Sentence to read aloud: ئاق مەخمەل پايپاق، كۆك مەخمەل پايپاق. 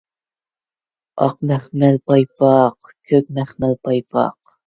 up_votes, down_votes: 0, 2